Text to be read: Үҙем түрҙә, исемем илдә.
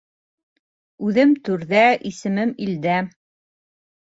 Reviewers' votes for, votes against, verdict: 2, 0, accepted